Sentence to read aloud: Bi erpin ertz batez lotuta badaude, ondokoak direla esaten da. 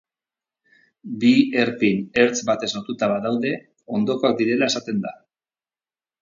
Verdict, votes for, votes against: rejected, 0, 2